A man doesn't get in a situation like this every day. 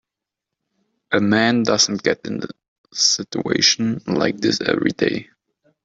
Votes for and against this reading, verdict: 1, 2, rejected